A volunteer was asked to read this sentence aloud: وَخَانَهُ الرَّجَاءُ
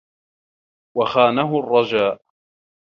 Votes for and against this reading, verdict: 1, 2, rejected